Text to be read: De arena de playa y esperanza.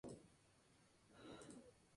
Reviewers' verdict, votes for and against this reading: rejected, 0, 2